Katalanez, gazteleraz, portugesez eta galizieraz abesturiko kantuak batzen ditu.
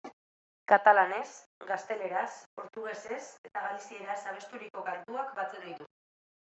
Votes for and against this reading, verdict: 2, 1, accepted